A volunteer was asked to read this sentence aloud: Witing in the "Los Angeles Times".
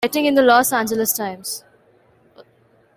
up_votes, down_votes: 2, 0